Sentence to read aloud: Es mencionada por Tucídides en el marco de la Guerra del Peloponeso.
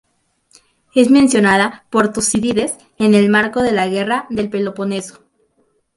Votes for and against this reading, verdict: 2, 2, rejected